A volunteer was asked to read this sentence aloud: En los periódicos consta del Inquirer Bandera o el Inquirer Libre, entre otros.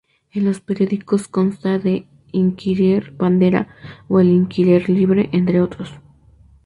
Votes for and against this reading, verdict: 2, 2, rejected